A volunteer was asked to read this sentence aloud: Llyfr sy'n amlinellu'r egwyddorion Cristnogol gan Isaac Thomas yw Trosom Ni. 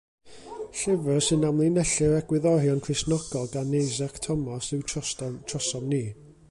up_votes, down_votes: 0, 2